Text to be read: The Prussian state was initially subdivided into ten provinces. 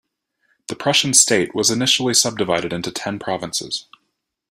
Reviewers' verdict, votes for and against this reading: accepted, 2, 0